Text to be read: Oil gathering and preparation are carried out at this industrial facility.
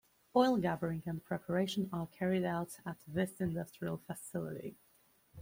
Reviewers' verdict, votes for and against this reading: accepted, 2, 0